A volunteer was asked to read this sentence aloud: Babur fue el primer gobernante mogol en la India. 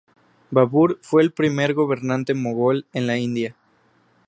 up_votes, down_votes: 2, 0